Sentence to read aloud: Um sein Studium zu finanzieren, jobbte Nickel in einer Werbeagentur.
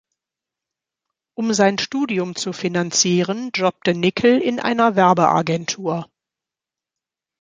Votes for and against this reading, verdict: 2, 0, accepted